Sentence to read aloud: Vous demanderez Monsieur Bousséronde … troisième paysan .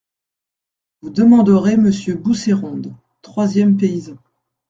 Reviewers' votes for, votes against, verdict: 2, 0, accepted